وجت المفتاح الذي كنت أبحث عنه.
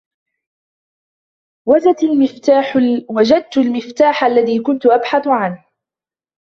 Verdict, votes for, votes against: rejected, 0, 2